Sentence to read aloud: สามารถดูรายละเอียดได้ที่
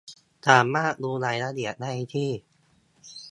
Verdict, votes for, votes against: accepted, 2, 0